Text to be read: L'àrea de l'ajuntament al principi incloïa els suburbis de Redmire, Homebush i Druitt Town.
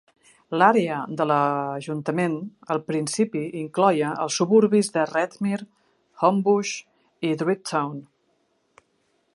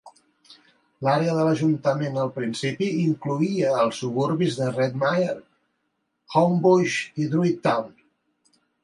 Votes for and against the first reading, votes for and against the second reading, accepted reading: 0, 2, 2, 0, second